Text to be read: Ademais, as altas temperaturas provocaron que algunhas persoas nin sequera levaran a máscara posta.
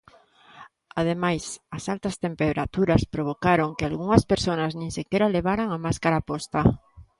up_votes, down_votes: 1, 2